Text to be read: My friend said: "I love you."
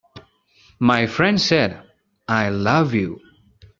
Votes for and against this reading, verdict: 2, 0, accepted